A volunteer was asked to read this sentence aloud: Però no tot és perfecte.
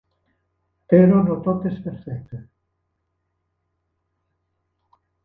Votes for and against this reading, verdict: 3, 0, accepted